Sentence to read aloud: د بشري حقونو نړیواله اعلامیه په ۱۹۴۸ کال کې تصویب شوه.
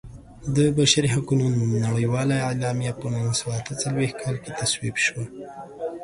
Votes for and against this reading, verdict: 0, 2, rejected